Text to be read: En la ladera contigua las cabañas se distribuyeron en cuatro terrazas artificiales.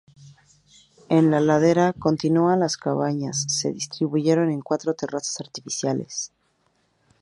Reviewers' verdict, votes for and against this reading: rejected, 0, 2